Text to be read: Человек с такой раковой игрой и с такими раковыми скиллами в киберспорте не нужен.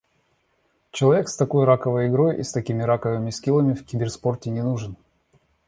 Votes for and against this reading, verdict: 2, 0, accepted